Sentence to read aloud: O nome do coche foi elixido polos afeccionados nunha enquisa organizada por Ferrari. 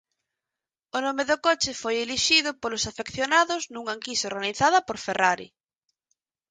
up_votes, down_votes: 4, 0